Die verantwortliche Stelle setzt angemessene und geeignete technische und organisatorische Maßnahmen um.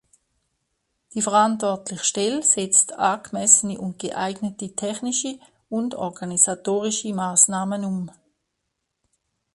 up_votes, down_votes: 2, 0